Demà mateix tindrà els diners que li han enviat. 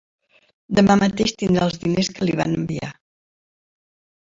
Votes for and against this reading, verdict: 0, 2, rejected